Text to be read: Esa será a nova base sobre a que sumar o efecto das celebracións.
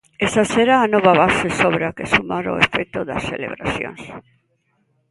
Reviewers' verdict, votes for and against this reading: accepted, 2, 1